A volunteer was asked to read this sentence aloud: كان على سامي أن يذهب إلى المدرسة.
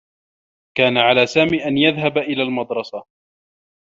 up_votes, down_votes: 1, 2